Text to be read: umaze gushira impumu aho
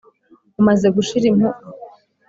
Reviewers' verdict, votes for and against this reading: rejected, 0, 2